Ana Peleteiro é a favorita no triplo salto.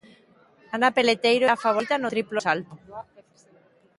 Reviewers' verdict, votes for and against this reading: rejected, 1, 2